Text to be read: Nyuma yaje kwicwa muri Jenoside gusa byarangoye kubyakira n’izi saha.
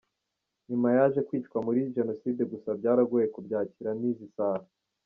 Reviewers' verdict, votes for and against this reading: accepted, 2, 1